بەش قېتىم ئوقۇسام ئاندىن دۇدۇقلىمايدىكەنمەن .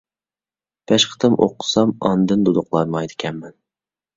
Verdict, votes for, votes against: rejected, 0, 2